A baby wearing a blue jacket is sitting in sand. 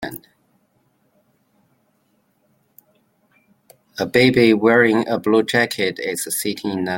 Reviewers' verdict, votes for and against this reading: rejected, 0, 2